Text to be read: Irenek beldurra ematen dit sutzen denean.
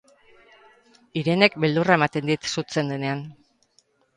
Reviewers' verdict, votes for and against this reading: accepted, 4, 2